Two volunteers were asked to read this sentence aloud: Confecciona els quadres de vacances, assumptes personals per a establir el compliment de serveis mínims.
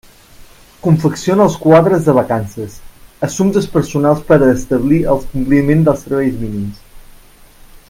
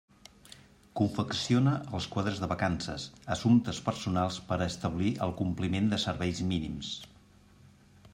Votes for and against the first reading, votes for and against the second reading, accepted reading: 0, 2, 3, 0, second